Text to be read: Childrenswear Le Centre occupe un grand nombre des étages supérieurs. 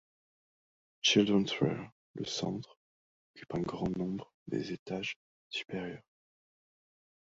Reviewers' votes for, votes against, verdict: 0, 2, rejected